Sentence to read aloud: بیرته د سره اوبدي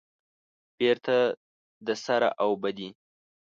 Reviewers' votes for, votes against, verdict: 1, 2, rejected